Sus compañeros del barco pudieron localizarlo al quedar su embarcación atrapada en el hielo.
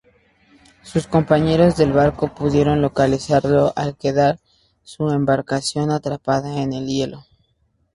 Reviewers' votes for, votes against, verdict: 6, 0, accepted